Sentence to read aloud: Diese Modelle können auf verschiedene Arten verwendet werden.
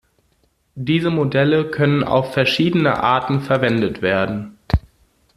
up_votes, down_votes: 2, 0